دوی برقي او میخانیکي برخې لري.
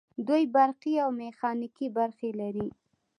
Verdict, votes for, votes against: accepted, 2, 0